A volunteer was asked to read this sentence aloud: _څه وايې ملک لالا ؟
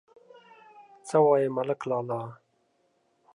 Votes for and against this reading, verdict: 3, 0, accepted